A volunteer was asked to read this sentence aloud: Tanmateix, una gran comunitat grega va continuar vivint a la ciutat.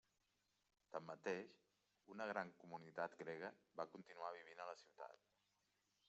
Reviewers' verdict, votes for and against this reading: rejected, 1, 3